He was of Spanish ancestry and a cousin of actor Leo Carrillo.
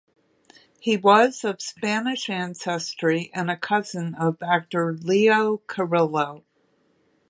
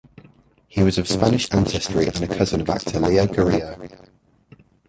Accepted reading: first